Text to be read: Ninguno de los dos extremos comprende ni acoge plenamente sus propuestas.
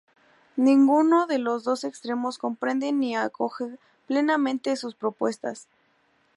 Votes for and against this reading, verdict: 4, 0, accepted